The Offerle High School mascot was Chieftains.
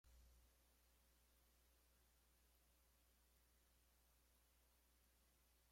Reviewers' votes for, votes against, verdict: 0, 2, rejected